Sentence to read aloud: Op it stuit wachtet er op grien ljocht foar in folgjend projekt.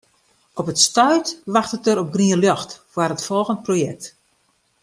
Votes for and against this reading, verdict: 1, 2, rejected